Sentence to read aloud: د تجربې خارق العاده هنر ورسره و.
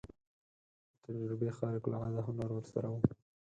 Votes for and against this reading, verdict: 0, 6, rejected